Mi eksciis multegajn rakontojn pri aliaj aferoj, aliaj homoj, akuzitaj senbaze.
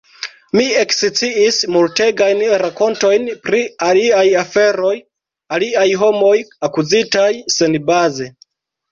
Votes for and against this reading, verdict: 0, 2, rejected